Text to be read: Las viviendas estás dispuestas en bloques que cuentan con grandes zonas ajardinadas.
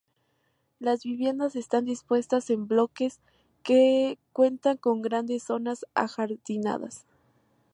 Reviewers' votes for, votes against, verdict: 2, 0, accepted